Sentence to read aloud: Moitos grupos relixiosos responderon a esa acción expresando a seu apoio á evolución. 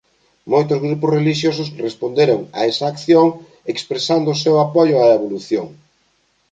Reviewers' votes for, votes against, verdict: 1, 2, rejected